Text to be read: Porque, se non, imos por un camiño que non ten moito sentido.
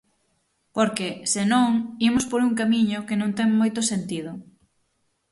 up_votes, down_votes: 6, 0